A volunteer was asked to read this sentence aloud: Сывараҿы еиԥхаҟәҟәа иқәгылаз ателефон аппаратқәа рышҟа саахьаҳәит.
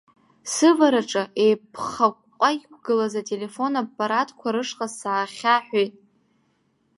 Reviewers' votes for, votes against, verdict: 1, 2, rejected